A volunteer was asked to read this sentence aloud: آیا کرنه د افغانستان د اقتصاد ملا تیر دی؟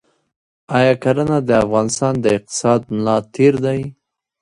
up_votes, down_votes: 0, 2